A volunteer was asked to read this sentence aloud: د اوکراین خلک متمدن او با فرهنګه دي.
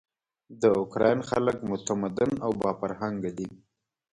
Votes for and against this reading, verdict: 2, 1, accepted